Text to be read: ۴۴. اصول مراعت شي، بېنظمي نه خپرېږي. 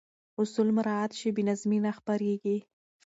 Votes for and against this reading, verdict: 0, 2, rejected